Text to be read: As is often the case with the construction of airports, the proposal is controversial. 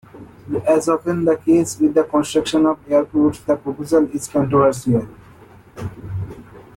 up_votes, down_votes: 1, 2